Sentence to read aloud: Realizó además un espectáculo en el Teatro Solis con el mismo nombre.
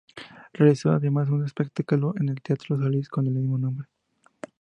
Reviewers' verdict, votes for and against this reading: accepted, 2, 0